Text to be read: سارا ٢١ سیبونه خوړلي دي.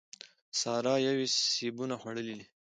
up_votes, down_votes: 0, 2